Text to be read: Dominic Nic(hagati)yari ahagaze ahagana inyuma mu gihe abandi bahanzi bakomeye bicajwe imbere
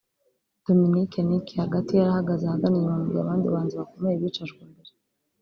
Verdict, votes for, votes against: accepted, 4, 0